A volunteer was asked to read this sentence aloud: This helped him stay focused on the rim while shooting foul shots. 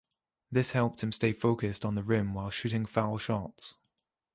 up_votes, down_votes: 1, 2